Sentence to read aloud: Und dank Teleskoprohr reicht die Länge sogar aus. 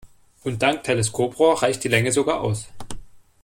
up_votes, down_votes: 2, 0